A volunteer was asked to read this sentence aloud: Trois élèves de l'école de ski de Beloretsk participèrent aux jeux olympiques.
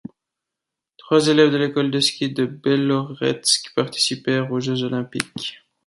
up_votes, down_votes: 2, 0